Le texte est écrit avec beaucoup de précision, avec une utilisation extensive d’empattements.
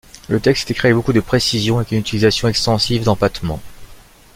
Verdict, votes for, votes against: accepted, 2, 0